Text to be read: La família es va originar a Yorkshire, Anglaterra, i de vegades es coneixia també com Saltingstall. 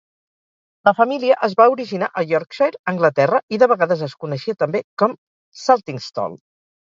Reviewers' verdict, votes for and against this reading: accepted, 4, 0